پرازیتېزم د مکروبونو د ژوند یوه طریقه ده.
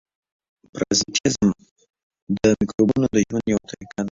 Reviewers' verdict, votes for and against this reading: rejected, 1, 2